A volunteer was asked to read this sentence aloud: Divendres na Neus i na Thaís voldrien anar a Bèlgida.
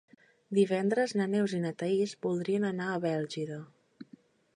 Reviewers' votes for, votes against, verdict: 2, 0, accepted